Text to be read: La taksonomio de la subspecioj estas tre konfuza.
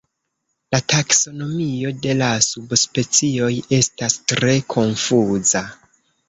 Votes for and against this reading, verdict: 1, 2, rejected